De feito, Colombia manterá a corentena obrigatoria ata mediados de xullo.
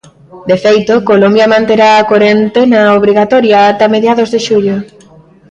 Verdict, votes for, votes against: accepted, 2, 1